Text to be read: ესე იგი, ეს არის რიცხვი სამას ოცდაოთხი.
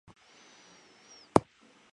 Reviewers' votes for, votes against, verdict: 1, 2, rejected